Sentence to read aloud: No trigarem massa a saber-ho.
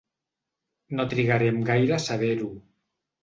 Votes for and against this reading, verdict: 0, 2, rejected